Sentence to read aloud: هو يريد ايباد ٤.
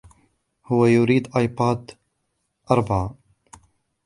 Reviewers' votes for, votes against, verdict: 0, 2, rejected